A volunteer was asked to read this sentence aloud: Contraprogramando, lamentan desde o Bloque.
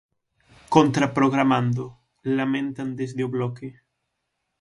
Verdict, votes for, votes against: accepted, 6, 0